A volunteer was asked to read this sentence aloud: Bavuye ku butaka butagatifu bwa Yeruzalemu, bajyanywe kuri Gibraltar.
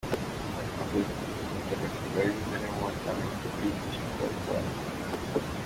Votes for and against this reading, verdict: 0, 2, rejected